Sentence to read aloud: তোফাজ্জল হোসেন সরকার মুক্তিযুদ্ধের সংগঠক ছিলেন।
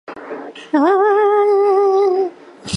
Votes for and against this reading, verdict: 0, 2, rejected